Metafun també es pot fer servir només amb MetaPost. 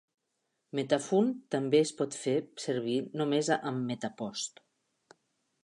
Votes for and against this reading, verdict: 0, 2, rejected